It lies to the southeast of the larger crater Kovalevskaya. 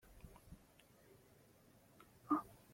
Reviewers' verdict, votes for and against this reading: rejected, 0, 3